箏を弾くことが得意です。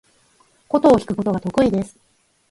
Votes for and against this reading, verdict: 4, 2, accepted